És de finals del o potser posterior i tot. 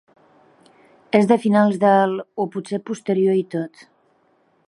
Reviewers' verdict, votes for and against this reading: accepted, 3, 0